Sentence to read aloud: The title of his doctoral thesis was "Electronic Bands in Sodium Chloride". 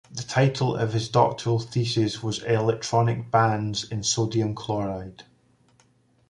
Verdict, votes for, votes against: accepted, 2, 0